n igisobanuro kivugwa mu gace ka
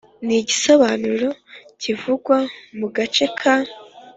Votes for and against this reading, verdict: 2, 0, accepted